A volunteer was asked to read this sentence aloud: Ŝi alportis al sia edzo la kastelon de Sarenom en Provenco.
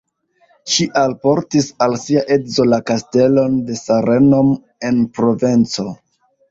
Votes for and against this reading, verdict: 0, 2, rejected